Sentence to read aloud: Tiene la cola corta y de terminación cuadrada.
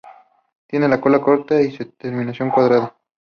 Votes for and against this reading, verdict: 2, 0, accepted